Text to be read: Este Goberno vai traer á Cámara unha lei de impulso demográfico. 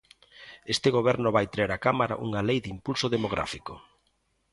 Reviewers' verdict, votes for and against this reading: accepted, 2, 0